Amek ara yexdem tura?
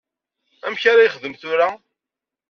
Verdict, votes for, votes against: accepted, 2, 1